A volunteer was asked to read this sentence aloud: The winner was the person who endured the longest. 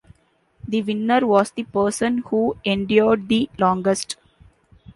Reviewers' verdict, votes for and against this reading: accepted, 2, 0